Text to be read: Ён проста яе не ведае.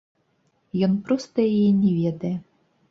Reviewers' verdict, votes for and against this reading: rejected, 1, 2